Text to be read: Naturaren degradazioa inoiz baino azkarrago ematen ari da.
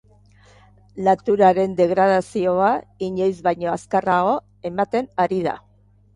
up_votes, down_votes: 2, 0